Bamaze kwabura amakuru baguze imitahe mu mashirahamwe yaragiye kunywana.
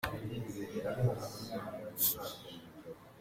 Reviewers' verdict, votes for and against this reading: rejected, 0, 2